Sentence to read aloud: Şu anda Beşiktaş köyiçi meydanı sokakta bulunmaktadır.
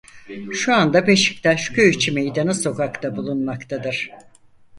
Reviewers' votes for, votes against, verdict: 2, 4, rejected